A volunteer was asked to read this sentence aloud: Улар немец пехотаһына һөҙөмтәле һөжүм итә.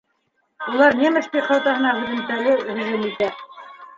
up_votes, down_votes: 0, 2